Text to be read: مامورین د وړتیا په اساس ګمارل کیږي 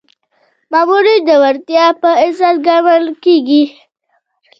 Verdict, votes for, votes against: rejected, 0, 2